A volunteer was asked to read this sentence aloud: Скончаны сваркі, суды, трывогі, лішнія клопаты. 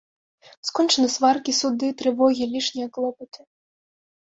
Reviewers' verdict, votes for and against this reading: accepted, 2, 0